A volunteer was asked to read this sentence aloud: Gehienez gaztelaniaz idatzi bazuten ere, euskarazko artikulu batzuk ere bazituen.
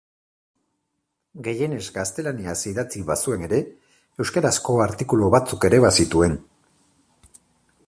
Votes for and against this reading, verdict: 0, 4, rejected